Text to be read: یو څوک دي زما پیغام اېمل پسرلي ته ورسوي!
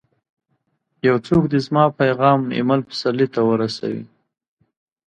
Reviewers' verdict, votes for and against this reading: accepted, 2, 0